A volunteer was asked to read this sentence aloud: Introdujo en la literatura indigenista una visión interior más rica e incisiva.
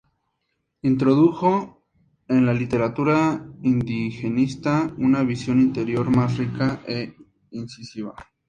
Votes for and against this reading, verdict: 2, 0, accepted